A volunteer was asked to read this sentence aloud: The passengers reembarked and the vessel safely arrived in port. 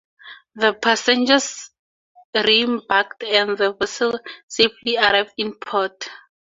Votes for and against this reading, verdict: 4, 0, accepted